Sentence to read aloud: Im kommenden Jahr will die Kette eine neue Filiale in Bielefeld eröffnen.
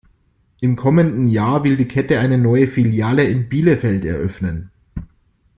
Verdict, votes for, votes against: accepted, 2, 0